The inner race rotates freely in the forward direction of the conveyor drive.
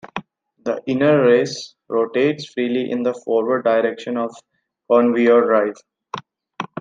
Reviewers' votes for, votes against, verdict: 2, 1, accepted